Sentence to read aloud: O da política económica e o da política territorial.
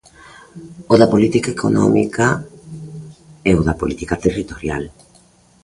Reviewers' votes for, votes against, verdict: 2, 0, accepted